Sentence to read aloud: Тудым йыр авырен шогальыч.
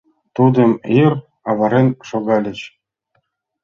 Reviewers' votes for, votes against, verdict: 2, 0, accepted